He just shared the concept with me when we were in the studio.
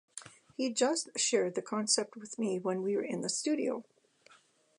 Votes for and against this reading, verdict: 3, 1, accepted